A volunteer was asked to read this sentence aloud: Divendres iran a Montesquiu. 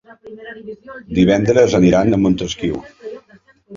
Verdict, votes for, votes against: rejected, 0, 2